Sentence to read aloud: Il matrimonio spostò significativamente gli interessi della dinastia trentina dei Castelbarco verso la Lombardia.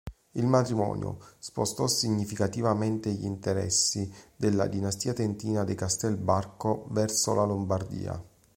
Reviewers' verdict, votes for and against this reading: rejected, 0, 2